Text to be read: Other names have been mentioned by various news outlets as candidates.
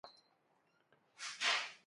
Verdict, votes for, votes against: rejected, 0, 2